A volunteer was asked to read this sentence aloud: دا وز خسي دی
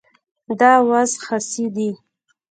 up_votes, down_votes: 0, 2